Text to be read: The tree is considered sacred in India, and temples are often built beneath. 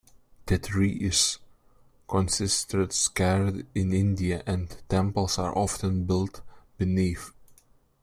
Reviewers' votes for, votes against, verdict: 0, 2, rejected